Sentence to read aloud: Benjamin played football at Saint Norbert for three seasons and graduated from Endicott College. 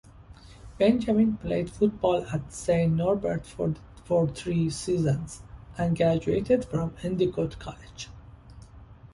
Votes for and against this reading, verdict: 1, 2, rejected